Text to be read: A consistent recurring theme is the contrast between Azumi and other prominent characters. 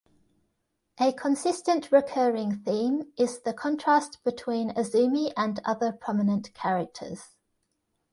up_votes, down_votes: 1, 2